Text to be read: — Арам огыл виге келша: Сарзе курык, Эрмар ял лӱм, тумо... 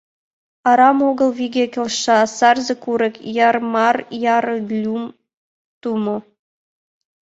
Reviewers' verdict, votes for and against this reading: rejected, 0, 2